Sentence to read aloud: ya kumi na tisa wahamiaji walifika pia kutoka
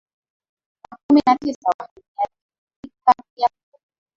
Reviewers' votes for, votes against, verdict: 0, 2, rejected